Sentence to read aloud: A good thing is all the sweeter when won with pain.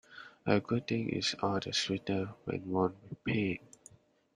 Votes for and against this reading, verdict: 2, 0, accepted